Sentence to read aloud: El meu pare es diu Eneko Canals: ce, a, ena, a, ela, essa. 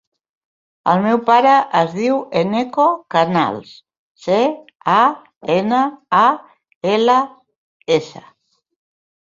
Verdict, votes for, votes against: rejected, 1, 2